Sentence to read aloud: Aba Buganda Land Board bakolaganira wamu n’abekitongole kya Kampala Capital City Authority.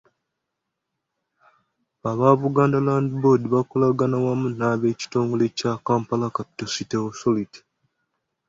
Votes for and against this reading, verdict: 2, 0, accepted